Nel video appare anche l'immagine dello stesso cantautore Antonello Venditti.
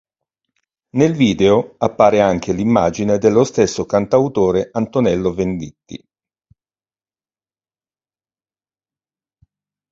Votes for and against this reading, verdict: 6, 0, accepted